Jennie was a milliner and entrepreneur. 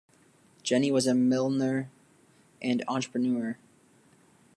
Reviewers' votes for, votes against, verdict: 0, 2, rejected